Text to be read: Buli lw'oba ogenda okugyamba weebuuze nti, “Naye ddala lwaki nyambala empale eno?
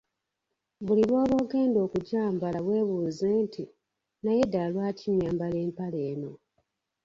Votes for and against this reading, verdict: 0, 2, rejected